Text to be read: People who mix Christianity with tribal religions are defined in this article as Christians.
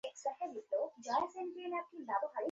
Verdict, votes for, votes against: rejected, 0, 2